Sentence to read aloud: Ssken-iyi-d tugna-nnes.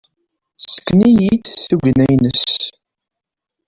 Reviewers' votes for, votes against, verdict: 1, 2, rejected